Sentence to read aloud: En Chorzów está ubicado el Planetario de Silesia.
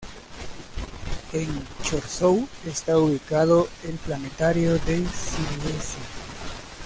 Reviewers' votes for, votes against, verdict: 0, 2, rejected